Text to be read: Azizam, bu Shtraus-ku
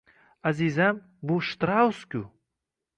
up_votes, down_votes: 2, 0